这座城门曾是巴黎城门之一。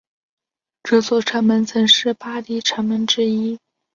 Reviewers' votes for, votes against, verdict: 6, 1, accepted